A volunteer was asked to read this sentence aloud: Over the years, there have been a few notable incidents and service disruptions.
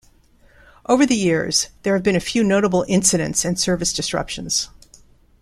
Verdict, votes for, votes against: accepted, 2, 0